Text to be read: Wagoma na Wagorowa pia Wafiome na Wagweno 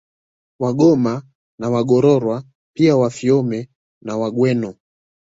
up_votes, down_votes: 2, 0